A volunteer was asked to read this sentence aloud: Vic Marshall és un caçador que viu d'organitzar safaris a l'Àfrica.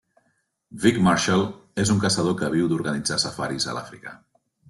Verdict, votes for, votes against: accepted, 2, 0